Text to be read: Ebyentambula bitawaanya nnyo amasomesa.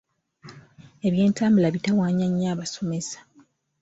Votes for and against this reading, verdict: 2, 1, accepted